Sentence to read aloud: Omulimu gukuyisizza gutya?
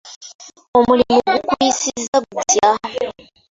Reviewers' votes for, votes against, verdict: 1, 2, rejected